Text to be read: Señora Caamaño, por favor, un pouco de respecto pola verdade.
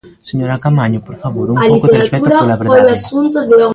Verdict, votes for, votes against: rejected, 0, 3